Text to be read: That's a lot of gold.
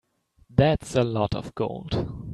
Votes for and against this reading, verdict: 2, 0, accepted